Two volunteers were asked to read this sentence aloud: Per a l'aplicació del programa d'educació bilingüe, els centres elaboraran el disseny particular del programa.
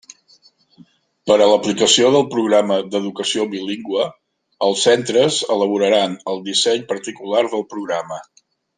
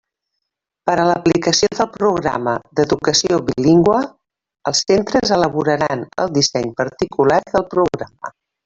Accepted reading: first